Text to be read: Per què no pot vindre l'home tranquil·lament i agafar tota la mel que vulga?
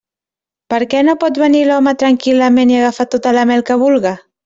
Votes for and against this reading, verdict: 0, 2, rejected